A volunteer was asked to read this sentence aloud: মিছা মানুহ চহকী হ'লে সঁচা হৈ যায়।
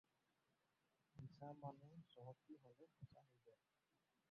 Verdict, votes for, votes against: rejected, 0, 4